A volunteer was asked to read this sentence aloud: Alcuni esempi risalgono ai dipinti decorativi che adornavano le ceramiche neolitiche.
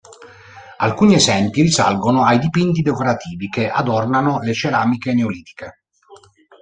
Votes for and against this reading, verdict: 1, 2, rejected